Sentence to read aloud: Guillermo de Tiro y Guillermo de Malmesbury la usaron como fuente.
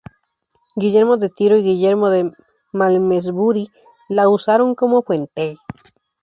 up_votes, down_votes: 0, 2